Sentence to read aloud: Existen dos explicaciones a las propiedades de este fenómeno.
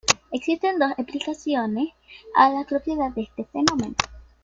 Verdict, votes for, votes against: accepted, 2, 1